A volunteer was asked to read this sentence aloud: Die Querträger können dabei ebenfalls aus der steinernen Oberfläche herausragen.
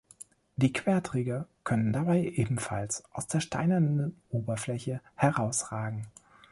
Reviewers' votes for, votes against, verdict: 2, 3, rejected